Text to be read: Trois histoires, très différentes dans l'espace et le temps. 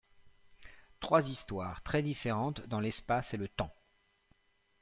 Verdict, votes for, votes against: accepted, 2, 0